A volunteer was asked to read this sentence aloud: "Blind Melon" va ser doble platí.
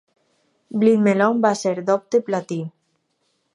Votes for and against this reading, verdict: 2, 4, rejected